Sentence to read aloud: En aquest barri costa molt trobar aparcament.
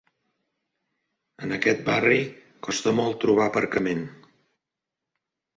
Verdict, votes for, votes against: accepted, 3, 0